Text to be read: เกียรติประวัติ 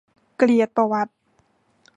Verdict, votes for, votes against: rejected, 0, 2